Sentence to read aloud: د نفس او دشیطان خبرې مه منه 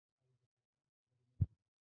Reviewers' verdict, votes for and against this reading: rejected, 0, 2